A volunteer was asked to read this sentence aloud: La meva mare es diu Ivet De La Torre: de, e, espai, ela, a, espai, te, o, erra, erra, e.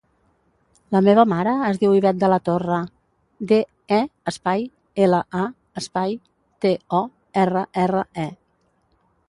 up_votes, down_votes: 1, 2